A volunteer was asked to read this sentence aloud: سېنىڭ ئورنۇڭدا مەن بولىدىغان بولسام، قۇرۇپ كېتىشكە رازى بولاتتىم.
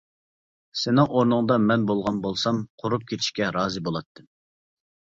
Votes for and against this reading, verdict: 0, 2, rejected